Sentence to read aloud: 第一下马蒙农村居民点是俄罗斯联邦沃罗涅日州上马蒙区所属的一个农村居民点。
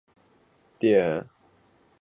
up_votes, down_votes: 0, 3